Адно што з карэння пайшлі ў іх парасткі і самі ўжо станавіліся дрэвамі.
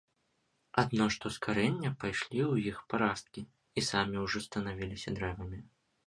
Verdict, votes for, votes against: rejected, 0, 2